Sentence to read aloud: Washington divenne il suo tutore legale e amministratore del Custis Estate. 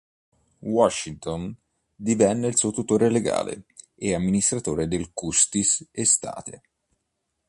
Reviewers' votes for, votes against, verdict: 1, 2, rejected